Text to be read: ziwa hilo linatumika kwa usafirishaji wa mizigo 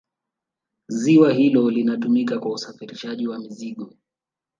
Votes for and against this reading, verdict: 0, 2, rejected